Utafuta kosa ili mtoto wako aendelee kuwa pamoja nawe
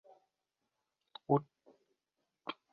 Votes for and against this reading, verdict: 0, 2, rejected